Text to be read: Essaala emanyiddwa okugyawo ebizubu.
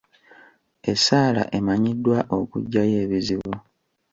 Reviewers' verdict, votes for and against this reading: accepted, 2, 1